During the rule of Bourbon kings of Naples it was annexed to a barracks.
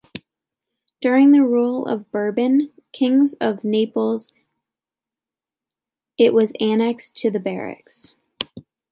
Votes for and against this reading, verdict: 0, 2, rejected